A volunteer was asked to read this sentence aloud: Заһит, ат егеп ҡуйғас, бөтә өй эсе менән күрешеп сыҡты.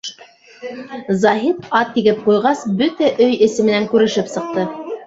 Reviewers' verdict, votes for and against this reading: rejected, 0, 2